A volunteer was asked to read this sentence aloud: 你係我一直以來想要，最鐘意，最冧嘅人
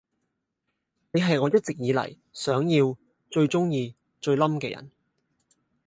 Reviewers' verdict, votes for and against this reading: rejected, 0, 2